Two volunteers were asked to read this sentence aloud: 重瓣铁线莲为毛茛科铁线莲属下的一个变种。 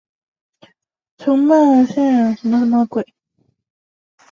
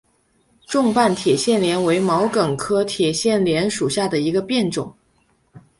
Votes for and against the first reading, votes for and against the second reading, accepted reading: 0, 4, 2, 0, second